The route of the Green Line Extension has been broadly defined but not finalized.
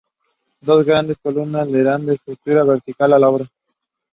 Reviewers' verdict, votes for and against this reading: rejected, 0, 2